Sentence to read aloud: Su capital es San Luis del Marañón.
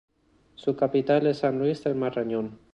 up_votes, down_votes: 2, 0